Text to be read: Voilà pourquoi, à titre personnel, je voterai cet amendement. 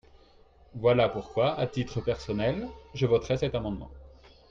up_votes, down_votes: 3, 0